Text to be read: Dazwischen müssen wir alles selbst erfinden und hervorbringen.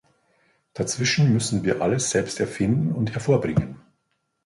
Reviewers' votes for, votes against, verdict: 2, 0, accepted